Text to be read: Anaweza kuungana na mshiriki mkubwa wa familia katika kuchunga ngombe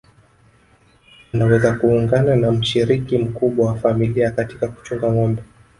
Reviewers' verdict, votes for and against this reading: rejected, 1, 2